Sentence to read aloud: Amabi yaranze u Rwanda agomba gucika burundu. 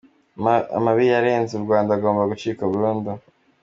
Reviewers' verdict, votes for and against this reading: accepted, 2, 0